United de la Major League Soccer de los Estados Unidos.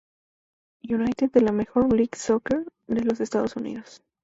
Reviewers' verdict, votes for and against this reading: rejected, 0, 2